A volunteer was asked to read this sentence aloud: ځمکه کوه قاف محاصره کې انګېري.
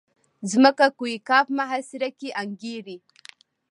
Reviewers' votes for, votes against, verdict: 1, 2, rejected